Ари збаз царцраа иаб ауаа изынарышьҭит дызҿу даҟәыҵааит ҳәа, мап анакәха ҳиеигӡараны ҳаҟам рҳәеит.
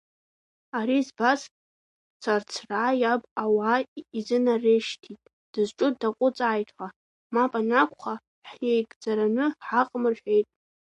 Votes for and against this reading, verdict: 2, 0, accepted